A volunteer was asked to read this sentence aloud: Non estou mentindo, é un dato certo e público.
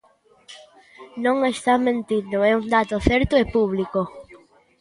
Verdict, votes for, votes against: rejected, 0, 2